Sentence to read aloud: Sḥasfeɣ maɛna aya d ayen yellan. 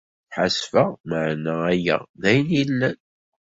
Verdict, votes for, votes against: rejected, 0, 2